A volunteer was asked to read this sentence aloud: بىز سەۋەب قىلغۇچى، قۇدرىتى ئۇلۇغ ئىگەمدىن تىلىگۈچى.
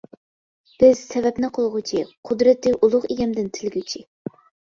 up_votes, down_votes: 0, 2